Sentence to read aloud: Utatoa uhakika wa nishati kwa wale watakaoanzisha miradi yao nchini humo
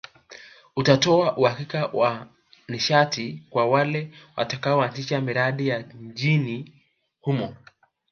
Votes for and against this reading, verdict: 1, 3, rejected